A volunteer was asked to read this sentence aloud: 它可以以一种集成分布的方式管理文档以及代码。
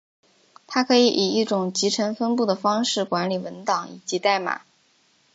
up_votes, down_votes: 2, 0